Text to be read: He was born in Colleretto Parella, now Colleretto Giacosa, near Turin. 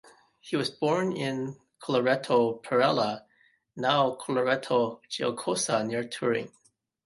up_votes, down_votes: 2, 1